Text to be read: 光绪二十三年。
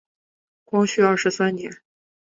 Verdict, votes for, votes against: accepted, 2, 0